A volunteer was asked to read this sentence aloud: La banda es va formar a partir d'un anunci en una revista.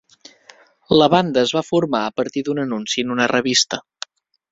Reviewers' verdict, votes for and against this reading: accepted, 3, 0